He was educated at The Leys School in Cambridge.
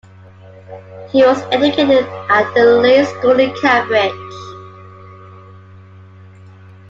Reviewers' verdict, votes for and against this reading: accepted, 2, 1